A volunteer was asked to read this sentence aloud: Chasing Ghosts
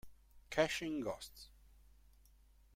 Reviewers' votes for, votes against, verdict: 1, 2, rejected